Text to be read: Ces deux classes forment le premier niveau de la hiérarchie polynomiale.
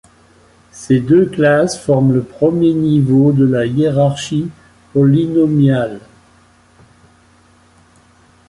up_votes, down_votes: 1, 2